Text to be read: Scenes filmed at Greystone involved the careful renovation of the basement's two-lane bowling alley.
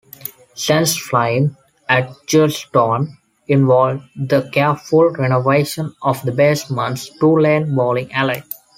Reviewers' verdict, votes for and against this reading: rejected, 1, 2